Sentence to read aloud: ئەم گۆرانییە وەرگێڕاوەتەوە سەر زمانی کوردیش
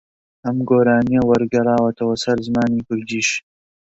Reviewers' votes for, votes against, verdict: 2, 0, accepted